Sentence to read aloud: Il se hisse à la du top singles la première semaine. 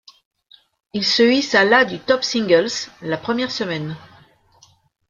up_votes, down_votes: 1, 2